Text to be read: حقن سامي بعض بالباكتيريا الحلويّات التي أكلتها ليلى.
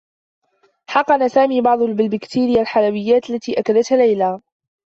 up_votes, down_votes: 0, 2